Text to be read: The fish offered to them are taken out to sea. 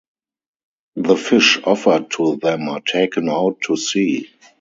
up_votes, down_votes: 0, 2